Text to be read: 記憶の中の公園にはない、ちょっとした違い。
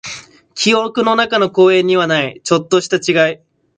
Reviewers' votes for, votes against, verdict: 2, 0, accepted